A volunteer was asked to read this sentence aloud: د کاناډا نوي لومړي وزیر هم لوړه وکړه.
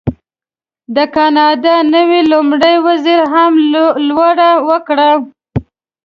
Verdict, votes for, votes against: accepted, 2, 0